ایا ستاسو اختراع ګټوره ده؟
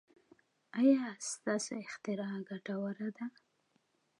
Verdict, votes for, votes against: accepted, 2, 1